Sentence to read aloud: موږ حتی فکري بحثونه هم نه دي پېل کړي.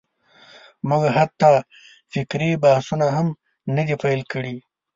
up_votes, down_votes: 2, 0